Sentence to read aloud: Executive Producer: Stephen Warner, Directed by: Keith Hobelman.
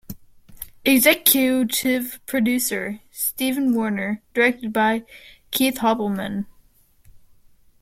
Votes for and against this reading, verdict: 0, 2, rejected